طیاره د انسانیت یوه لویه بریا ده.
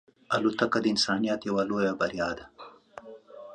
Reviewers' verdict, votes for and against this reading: accepted, 3, 0